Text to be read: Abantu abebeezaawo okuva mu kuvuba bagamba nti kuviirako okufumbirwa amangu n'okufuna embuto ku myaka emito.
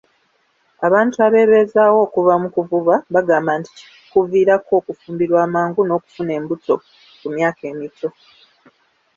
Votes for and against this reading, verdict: 2, 0, accepted